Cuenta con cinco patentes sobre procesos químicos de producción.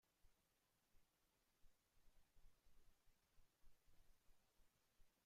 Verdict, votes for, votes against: rejected, 0, 2